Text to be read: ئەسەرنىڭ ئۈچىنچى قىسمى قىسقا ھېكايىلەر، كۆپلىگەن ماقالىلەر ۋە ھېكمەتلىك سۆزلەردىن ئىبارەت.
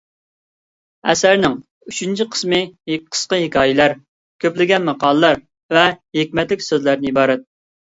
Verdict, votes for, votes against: accepted, 2, 1